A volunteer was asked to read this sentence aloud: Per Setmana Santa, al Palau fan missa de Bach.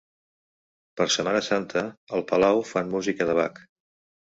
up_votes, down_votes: 0, 2